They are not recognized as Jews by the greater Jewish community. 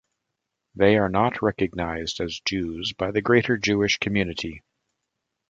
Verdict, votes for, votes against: accepted, 2, 0